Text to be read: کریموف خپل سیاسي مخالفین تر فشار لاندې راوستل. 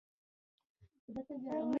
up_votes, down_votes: 2, 1